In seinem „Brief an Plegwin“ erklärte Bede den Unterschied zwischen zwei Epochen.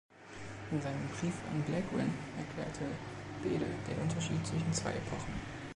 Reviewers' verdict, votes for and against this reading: accepted, 2, 0